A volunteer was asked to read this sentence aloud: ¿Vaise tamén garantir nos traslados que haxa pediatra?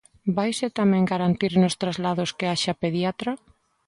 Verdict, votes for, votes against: accepted, 2, 0